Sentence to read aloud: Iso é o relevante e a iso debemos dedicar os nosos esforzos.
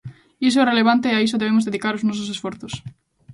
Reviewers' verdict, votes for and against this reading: rejected, 1, 2